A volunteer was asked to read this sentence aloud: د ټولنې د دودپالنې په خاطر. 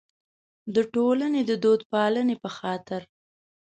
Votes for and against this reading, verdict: 3, 0, accepted